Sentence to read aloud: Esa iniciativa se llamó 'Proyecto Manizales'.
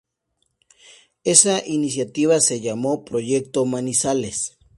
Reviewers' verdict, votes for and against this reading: accepted, 2, 0